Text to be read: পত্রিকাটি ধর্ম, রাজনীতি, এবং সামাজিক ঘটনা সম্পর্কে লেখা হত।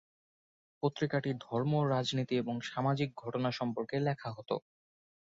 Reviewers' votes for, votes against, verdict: 2, 0, accepted